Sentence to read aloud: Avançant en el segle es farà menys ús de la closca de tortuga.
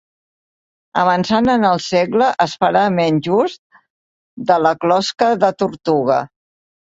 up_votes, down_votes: 2, 0